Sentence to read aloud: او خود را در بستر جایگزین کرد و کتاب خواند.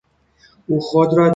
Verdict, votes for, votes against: rejected, 0, 2